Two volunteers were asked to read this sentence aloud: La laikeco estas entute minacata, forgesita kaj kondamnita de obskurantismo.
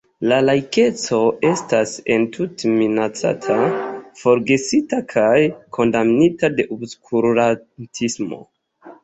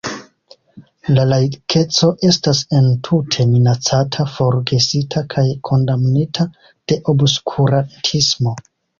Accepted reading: first